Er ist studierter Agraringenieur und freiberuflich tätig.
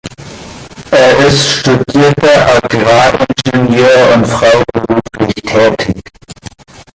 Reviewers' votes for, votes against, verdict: 1, 2, rejected